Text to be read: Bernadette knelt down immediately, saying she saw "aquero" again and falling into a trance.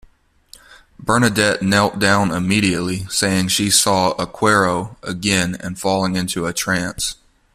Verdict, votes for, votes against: accepted, 2, 1